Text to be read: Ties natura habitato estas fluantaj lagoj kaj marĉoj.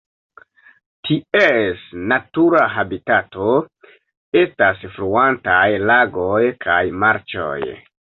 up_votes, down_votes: 2, 1